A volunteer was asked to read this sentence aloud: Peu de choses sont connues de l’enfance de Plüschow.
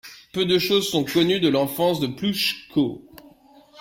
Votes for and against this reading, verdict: 1, 2, rejected